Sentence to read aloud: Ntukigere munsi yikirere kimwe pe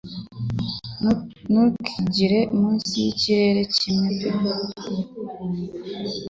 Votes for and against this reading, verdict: 2, 3, rejected